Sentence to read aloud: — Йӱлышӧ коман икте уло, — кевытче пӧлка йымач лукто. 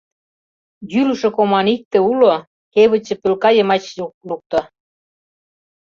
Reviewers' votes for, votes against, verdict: 0, 2, rejected